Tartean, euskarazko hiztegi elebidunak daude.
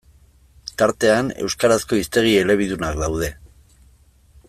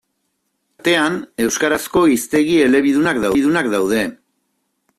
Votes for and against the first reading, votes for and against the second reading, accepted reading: 2, 0, 0, 2, first